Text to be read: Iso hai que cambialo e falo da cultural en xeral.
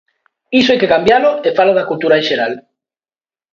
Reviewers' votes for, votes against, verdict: 2, 1, accepted